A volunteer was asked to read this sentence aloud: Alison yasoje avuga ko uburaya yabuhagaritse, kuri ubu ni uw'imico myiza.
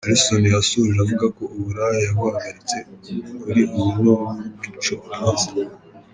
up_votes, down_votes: 2, 0